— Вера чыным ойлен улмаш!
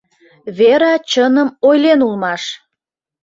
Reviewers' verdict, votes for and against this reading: accepted, 2, 0